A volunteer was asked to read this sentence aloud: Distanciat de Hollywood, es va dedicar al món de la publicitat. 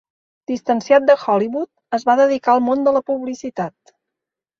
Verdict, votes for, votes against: accepted, 4, 0